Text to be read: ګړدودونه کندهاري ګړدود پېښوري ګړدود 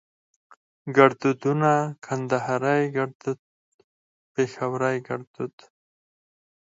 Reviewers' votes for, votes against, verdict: 0, 4, rejected